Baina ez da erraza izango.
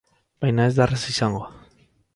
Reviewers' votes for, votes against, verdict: 0, 2, rejected